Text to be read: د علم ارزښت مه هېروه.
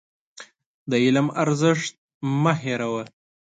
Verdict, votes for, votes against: accepted, 2, 0